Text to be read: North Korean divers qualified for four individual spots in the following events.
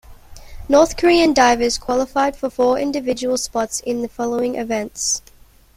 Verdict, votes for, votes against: accepted, 2, 1